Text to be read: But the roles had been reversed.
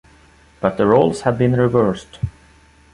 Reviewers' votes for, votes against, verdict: 2, 0, accepted